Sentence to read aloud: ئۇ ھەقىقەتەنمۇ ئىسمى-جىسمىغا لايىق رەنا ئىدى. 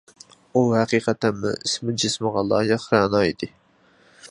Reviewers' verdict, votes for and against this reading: accepted, 2, 0